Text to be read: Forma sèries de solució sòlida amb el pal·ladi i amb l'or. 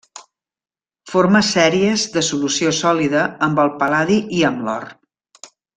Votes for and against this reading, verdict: 1, 2, rejected